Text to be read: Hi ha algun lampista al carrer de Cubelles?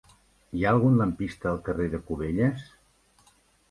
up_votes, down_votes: 4, 0